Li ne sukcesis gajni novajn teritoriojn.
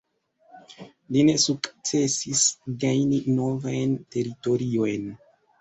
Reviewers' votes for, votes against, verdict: 0, 2, rejected